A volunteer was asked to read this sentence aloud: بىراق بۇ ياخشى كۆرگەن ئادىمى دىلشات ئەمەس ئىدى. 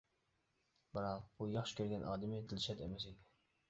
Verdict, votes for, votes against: rejected, 1, 2